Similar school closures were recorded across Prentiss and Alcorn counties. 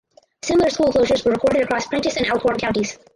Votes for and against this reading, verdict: 2, 4, rejected